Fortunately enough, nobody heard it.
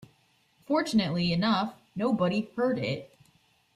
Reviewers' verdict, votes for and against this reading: accepted, 2, 0